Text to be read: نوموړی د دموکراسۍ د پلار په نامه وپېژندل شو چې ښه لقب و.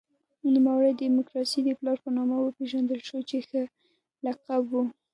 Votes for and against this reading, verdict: 2, 0, accepted